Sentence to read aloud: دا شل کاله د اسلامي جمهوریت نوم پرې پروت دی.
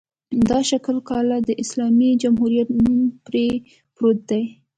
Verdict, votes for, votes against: accepted, 2, 0